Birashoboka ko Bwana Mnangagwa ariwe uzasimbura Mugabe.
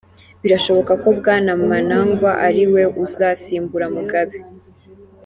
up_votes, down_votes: 2, 3